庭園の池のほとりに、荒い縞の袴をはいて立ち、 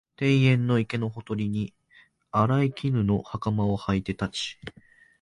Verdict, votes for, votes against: accepted, 2, 0